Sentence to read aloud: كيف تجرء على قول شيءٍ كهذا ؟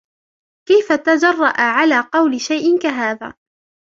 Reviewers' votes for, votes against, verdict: 1, 2, rejected